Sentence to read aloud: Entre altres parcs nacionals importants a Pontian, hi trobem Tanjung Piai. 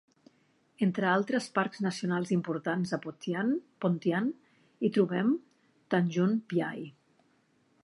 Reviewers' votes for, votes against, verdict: 0, 2, rejected